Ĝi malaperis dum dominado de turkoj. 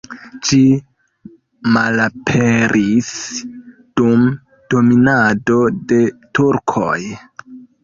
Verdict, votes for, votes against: accepted, 2, 0